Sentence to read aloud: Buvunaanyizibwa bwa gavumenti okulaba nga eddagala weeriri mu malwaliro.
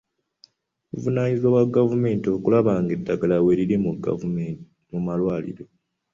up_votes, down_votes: 0, 2